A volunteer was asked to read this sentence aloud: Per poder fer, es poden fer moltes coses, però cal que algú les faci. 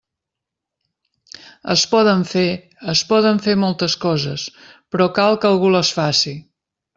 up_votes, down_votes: 0, 2